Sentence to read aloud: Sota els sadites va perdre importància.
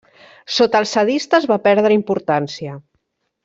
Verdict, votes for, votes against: rejected, 0, 2